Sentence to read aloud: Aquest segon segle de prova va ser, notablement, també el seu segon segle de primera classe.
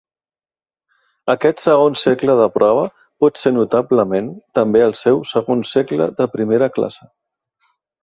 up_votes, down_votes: 0, 2